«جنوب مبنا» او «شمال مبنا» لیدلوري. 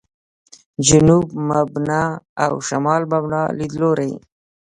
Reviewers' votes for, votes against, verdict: 2, 0, accepted